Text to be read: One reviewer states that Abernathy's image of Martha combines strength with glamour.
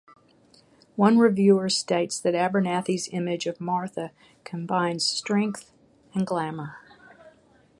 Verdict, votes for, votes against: rejected, 0, 6